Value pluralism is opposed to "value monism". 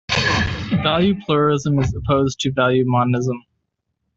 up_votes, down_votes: 1, 2